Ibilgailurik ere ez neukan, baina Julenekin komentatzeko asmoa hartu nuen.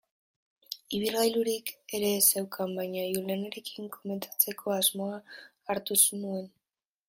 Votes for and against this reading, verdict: 0, 3, rejected